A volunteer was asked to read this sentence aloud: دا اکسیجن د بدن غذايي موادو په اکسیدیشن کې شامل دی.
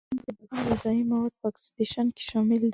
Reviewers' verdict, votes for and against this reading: rejected, 1, 2